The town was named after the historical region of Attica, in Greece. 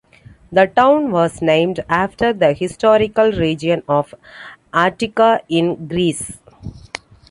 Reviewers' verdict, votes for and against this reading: accepted, 2, 0